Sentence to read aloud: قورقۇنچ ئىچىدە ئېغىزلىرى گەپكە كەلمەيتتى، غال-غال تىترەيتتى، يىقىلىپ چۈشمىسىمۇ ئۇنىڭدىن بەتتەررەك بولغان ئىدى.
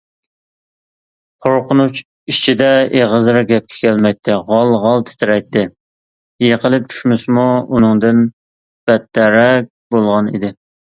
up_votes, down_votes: 2, 0